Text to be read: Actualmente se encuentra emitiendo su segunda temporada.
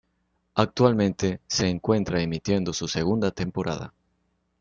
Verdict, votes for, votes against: accepted, 2, 0